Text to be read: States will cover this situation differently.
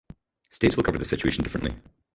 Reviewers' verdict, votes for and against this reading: rejected, 0, 4